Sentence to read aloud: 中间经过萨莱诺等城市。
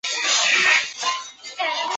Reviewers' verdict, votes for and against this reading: rejected, 0, 3